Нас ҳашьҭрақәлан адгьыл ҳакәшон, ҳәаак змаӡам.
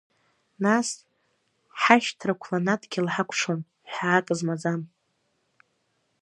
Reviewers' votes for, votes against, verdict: 1, 2, rejected